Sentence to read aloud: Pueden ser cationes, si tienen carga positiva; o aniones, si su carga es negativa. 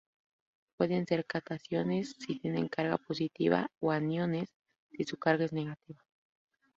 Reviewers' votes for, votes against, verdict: 0, 2, rejected